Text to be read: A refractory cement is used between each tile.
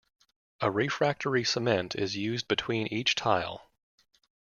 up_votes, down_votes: 2, 0